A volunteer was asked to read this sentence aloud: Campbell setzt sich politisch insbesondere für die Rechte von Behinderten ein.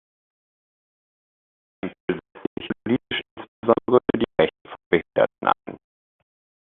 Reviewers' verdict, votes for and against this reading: rejected, 0, 2